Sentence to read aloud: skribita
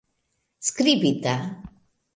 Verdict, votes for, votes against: rejected, 1, 2